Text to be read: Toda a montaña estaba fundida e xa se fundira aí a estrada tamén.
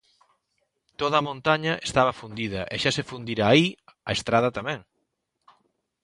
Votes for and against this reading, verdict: 2, 0, accepted